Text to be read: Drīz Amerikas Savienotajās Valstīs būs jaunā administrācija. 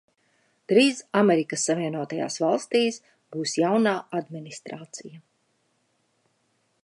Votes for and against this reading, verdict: 2, 0, accepted